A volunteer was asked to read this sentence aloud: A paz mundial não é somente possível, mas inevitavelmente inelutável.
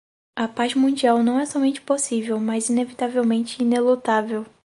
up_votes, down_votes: 4, 0